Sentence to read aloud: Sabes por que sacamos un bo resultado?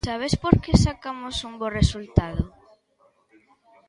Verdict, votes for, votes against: accepted, 2, 0